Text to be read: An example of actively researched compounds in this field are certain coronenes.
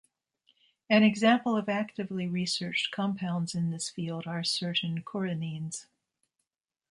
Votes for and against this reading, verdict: 2, 0, accepted